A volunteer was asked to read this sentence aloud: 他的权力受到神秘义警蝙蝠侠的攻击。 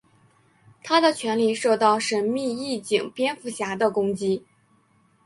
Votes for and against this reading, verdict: 2, 0, accepted